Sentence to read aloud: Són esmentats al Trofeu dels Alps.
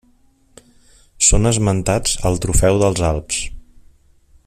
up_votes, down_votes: 3, 0